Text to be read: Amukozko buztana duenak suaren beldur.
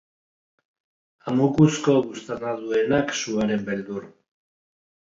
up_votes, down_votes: 1, 2